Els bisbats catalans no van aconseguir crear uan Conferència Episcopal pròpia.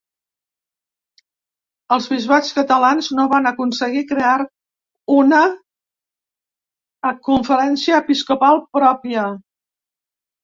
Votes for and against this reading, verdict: 3, 2, accepted